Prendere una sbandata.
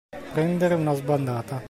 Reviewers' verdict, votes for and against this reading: accepted, 2, 0